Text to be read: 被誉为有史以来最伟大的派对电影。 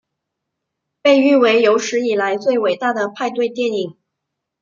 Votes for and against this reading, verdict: 2, 0, accepted